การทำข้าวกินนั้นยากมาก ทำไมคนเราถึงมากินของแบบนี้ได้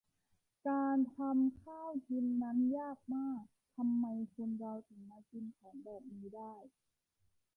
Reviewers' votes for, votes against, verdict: 0, 2, rejected